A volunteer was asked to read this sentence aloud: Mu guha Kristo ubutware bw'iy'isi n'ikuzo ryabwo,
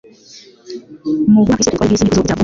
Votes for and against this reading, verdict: 0, 2, rejected